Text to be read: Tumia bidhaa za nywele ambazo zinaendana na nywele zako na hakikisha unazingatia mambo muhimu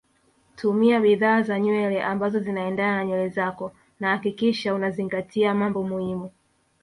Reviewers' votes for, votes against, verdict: 1, 2, rejected